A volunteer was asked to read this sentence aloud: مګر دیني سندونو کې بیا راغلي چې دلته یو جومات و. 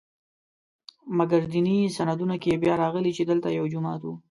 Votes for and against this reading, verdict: 2, 0, accepted